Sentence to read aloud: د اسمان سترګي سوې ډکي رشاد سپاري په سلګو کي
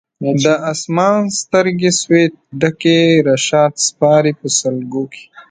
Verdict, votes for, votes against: accepted, 2, 1